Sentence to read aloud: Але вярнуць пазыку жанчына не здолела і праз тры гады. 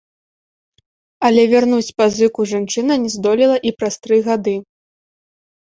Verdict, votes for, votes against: rejected, 0, 2